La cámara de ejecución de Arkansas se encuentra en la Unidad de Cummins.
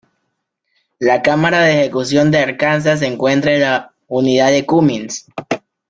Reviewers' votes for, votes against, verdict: 1, 2, rejected